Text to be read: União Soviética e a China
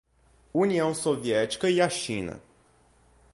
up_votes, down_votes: 2, 0